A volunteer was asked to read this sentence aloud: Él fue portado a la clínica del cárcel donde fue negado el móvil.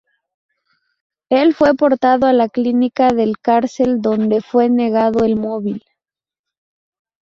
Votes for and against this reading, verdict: 0, 2, rejected